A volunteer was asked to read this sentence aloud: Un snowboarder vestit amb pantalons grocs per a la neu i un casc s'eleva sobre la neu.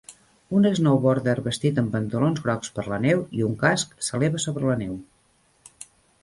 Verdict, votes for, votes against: rejected, 0, 2